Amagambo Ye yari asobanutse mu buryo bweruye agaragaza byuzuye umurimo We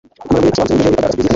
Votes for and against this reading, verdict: 2, 1, accepted